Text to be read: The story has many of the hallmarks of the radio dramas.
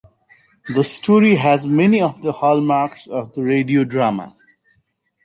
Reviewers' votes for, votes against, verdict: 2, 1, accepted